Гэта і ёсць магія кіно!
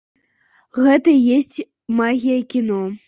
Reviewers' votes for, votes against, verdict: 0, 2, rejected